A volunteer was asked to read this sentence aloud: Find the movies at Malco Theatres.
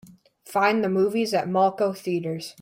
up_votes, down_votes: 2, 0